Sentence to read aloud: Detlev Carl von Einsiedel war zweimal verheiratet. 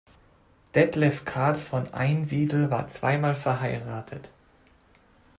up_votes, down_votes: 2, 0